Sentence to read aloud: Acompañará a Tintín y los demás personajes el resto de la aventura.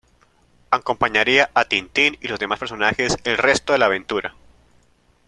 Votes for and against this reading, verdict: 0, 2, rejected